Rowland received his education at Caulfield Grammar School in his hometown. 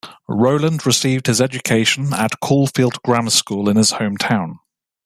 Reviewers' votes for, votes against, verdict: 2, 0, accepted